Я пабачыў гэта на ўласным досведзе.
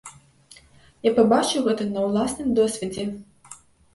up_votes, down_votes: 2, 0